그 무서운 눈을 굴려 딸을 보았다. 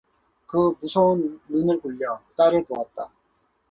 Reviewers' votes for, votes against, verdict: 2, 0, accepted